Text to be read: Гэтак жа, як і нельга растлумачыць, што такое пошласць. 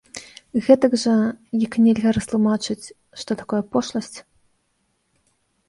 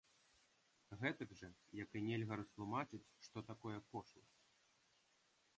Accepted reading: first